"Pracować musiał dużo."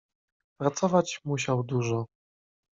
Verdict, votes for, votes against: accepted, 2, 0